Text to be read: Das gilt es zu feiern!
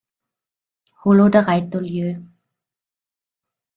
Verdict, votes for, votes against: rejected, 1, 2